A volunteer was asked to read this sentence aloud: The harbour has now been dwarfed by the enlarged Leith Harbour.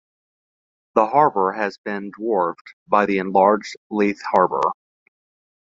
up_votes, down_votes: 1, 2